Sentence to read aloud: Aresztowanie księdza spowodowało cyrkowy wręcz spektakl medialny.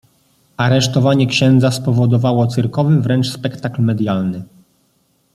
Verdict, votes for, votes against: accepted, 2, 0